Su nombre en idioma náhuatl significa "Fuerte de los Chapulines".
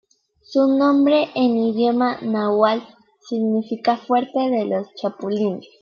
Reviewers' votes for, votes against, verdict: 2, 0, accepted